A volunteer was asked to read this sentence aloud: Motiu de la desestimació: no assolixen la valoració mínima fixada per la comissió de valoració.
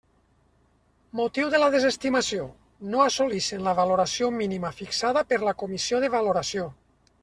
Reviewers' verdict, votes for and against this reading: accepted, 3, 0